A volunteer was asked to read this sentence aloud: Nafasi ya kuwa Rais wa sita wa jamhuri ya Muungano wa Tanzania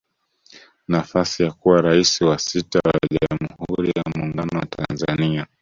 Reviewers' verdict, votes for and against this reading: rejected, 1, 2